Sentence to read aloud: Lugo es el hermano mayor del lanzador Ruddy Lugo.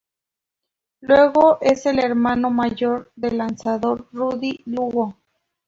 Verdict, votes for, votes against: rejected, 2, 2